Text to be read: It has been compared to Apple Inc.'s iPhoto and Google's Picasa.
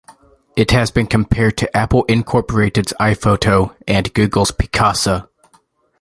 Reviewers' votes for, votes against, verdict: 2, 0, accepted